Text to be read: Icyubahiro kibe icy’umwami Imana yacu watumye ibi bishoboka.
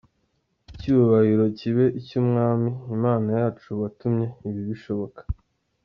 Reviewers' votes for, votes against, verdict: 0, 2, rejected